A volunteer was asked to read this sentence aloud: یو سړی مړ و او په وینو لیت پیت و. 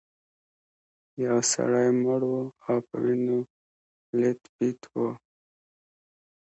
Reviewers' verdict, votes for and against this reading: accepted, 2, 0